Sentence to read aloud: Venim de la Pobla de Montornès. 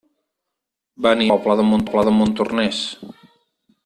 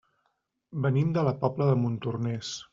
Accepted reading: second